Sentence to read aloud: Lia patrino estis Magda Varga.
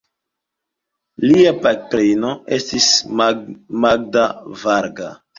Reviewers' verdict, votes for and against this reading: accepted, 2, 1